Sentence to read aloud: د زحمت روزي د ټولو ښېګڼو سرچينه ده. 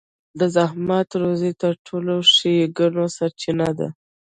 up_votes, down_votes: 0, 2